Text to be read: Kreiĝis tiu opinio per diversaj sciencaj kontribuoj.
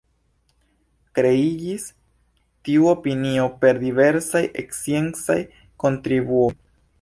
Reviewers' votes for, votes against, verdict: 1, 2, rejected